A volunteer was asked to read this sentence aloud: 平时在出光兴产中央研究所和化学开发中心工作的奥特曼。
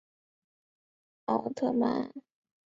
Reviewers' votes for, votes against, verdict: 0, 2, rejected